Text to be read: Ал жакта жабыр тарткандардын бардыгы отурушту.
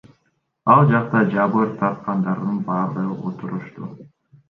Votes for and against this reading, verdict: 1, 2, rejected